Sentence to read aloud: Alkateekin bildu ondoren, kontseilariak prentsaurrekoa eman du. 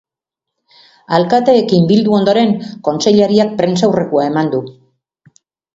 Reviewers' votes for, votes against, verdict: 4, 0, accepted